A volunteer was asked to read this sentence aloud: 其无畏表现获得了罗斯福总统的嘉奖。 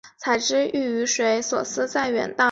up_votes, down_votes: 0, 2